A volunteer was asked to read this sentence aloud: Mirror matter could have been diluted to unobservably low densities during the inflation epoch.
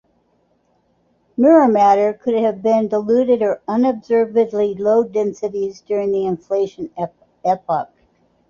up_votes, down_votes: 2, 0